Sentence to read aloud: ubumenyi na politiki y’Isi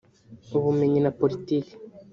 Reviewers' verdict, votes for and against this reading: rejected, 1, 2